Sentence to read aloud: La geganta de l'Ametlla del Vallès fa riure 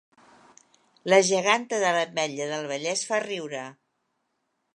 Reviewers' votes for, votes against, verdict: 2, 0, accepted